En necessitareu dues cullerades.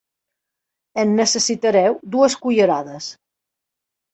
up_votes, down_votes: 3, 0